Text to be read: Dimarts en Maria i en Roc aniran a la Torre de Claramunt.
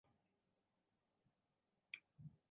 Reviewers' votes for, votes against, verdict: 2, 4, rejected